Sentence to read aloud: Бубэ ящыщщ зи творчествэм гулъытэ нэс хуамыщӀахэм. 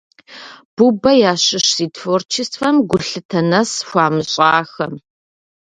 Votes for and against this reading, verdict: 1, 2, rejected